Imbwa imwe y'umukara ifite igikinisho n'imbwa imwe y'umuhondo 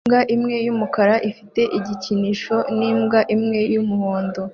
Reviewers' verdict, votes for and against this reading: accepted, 2, 0